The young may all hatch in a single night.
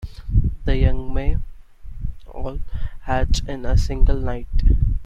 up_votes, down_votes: 1, 2